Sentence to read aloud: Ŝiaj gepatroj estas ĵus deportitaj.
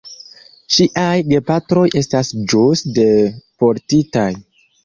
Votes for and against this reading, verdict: 2, 0, accepted